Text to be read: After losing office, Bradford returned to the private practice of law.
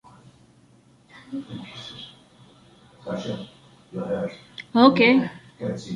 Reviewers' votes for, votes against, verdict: 0, 2, rejected